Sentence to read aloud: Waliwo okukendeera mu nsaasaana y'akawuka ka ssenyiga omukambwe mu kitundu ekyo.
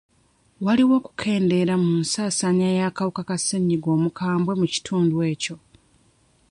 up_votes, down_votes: 0, 2